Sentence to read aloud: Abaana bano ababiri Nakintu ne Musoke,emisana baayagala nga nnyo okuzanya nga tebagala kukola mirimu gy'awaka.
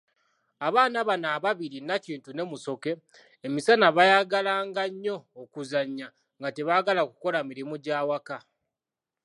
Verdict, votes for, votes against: accepted, 2, 0